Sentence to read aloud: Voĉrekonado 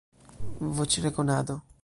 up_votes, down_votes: 2, 0